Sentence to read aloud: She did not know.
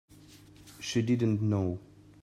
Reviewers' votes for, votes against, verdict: 0, 2, rejected